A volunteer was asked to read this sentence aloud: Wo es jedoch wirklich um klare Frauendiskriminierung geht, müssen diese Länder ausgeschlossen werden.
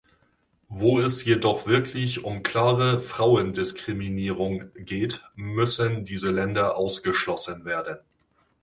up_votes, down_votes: 2, 1